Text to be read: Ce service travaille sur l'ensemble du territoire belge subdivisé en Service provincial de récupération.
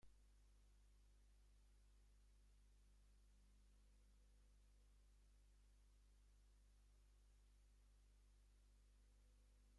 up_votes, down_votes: 0, 2